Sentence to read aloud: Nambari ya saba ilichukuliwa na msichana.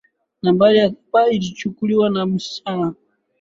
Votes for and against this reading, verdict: 6, 3, accepted